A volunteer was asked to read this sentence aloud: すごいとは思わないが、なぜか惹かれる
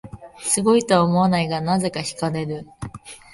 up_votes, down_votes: 2, 0